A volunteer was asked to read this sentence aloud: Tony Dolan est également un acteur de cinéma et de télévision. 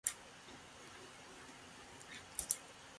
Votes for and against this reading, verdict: 0, 2, rejected